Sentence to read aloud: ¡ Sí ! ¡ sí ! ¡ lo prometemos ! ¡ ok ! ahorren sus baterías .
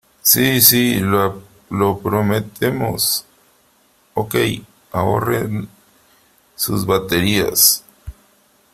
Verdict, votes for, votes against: accepted, 2, 1